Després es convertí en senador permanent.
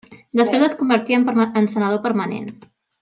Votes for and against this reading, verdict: 0, 2, rejected